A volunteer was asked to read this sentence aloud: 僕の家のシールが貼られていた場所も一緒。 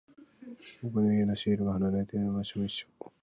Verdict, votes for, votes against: rejected, 1, 6